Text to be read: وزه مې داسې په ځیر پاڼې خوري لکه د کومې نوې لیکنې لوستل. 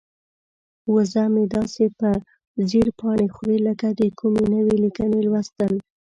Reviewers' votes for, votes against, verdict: 2, 0, accepted